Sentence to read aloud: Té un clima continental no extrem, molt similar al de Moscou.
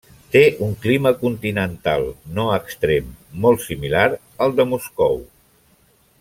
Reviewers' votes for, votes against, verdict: 3, 0, accepted